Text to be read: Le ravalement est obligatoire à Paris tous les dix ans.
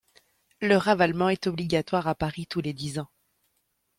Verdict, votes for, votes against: accepted, 2, 0